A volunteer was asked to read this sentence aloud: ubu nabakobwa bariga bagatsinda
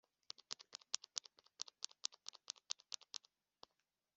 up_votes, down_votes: 0, 2